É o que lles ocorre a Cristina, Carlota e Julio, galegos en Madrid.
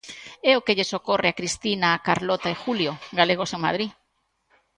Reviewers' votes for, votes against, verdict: 2, 0, accepted